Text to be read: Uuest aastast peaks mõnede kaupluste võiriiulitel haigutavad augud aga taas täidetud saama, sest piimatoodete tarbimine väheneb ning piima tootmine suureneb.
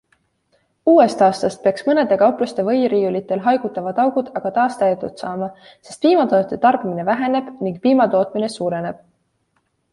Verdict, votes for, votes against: accepted, 2, 1